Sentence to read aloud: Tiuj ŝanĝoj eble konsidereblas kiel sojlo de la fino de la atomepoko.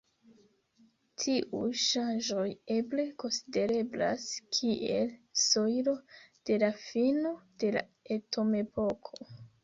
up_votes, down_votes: 1, 2